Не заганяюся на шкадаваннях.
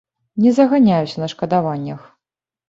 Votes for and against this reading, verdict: 0, 2, rejected